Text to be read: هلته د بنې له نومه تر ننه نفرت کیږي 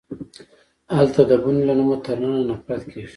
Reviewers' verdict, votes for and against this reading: accepted, 2, 0